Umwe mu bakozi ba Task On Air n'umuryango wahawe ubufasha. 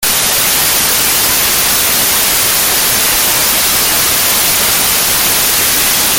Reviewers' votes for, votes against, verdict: 0, 2, rejected